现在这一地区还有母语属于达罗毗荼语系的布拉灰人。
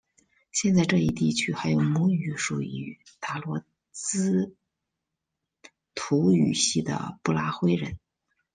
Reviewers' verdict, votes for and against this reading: rejected, 1, 2